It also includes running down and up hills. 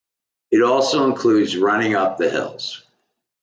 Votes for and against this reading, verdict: 1, 2, rejected